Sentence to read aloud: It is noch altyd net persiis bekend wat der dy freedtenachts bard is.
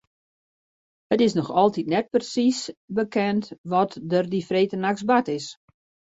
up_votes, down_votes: 2, 0